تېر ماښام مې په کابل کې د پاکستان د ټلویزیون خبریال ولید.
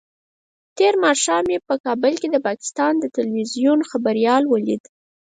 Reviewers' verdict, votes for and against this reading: rejected, 2, 4